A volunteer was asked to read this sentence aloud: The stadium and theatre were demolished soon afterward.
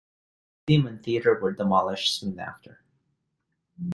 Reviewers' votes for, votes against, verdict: 0, 2, rejected